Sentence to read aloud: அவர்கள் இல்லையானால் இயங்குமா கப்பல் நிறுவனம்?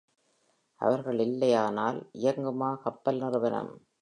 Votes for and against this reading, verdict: 2, 0, accepted